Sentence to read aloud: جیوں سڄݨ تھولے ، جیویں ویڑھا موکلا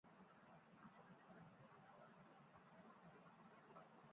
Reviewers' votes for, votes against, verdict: 0, 2, rejected